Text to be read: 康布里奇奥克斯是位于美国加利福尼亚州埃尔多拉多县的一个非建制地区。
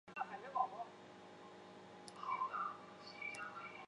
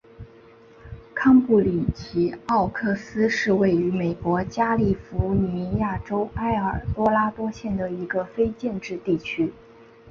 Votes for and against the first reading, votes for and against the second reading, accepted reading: 0, 5, 3, 0, second